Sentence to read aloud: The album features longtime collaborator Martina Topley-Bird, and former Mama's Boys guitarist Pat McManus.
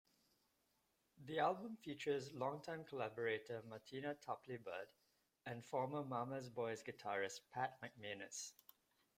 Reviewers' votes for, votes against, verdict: 1, 2, rejected